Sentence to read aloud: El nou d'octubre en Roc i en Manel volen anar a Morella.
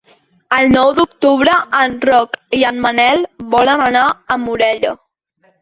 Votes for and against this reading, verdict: 4, 0, accepted